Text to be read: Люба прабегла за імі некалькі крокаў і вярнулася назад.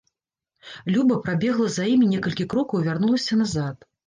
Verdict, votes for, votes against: accepted, 2, 0